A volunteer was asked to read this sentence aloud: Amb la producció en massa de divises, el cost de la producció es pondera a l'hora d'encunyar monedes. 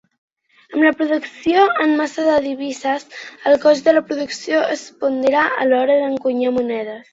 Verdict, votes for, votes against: accepted, 2, 0